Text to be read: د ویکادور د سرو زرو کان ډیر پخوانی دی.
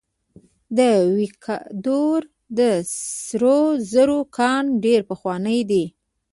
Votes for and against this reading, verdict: 0, 2, rejected